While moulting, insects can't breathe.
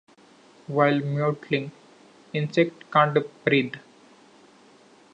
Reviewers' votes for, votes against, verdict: 1, 2, rejected